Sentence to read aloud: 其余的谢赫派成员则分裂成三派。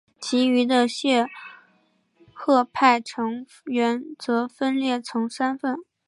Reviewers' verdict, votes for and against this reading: rejected, 0, 2